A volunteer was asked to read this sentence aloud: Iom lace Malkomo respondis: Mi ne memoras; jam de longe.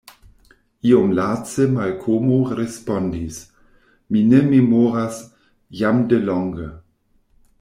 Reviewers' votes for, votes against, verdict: 2, 0, accepted